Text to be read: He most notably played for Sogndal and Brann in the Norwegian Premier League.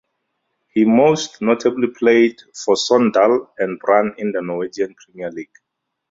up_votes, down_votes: 2, 0